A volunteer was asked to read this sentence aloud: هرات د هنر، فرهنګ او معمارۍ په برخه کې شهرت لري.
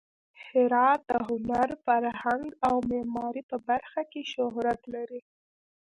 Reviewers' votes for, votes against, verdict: 1, 2, rejected